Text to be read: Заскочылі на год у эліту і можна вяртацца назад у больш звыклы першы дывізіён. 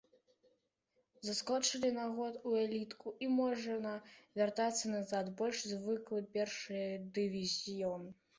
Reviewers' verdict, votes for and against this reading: rejected, 1, 2